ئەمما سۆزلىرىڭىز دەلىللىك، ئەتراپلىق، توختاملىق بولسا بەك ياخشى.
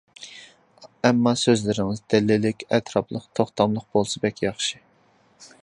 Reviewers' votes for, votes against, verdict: 2, 0, accepted